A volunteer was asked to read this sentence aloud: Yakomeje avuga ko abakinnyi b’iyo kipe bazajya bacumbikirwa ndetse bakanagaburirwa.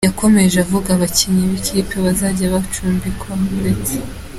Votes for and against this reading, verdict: 0, 2, rejected